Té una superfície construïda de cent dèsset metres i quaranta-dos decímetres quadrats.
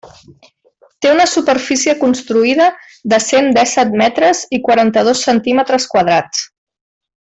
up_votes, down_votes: 0, 2